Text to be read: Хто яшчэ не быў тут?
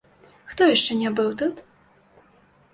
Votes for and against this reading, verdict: 2, 1, accepted